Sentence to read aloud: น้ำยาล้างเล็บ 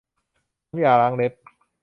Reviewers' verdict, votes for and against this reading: rejected, 1, 2